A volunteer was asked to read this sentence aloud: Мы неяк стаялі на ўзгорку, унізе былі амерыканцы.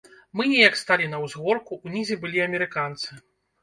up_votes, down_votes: 1, 2